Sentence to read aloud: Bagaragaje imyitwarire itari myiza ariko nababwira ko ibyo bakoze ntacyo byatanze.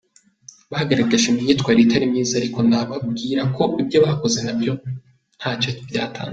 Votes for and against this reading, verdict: 0, 2, rejected